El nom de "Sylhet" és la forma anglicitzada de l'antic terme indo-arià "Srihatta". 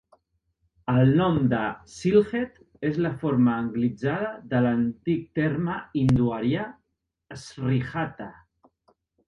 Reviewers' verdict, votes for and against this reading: rejected, 0, 2